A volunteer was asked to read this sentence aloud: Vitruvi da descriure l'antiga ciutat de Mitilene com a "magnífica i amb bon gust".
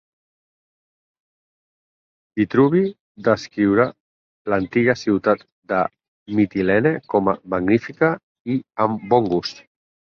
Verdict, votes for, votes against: rejected, 0, 4